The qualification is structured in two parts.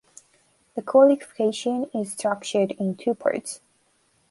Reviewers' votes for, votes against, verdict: 2, 0, accepted